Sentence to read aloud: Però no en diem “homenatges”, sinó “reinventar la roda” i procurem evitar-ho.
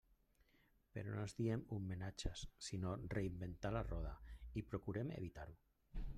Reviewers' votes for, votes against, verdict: 0, 2, rejected